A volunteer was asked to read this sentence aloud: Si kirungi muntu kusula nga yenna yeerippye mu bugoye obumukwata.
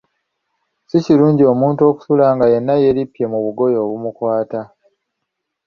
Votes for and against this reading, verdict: 2, 0, accepted